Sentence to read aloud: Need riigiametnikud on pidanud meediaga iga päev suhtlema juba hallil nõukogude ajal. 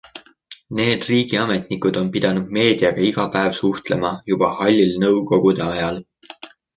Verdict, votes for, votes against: accepted, 2, 0